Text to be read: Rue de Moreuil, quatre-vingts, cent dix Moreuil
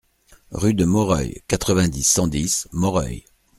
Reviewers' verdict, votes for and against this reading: rejected, 1, 2